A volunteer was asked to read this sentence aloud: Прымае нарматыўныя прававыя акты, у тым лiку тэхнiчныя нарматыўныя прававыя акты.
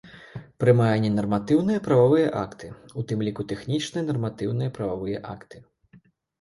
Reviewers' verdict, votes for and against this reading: rejected, 0, 2